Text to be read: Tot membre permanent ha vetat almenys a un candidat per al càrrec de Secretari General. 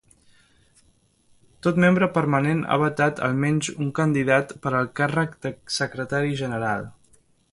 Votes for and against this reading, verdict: 1, 2, rejected